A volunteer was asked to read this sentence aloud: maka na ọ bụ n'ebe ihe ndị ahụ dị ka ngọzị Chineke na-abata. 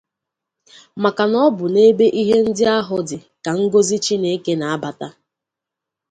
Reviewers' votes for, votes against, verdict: 2, 0, accepted